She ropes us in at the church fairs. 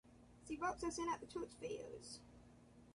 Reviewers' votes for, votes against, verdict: 1, 2, rejected